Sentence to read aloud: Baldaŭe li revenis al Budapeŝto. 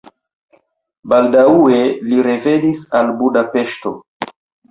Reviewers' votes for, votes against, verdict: 0, 2, rejected